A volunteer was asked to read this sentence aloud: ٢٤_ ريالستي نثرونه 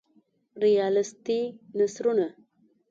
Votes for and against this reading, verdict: 0, 2, rejected